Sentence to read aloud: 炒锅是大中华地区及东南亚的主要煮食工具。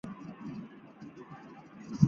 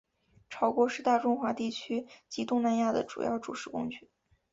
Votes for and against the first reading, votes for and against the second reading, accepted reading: 1, 3, 2, 0, second